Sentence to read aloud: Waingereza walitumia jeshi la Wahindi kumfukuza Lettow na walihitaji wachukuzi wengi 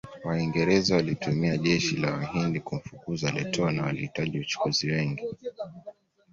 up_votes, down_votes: 2, 0